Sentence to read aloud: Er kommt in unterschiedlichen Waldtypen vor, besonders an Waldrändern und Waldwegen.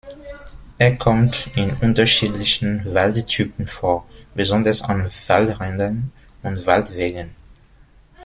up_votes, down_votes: 1, 2